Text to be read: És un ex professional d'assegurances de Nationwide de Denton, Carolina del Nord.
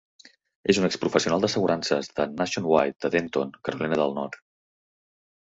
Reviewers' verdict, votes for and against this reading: accepted, 4, 0